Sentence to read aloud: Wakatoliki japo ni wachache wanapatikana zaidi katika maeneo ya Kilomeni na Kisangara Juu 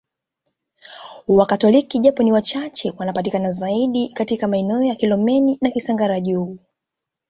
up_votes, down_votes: 2, 1